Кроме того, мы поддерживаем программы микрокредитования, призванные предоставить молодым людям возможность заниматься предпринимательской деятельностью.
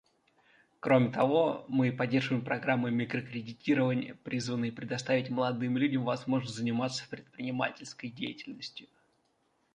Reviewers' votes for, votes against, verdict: 0, 2, rejected